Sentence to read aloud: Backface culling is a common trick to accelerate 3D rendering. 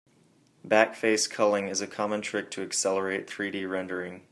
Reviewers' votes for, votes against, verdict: 0, 2, rejected